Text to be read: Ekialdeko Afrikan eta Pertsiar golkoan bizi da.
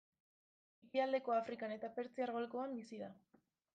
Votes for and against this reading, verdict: 1, 2, rejected